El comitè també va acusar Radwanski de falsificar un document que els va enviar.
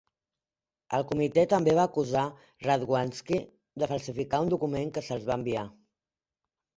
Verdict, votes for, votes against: rejected, 1, 2